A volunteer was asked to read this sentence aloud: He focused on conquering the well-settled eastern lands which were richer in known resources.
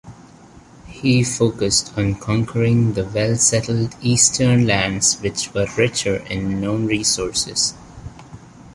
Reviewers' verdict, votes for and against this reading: rejected, 0, 2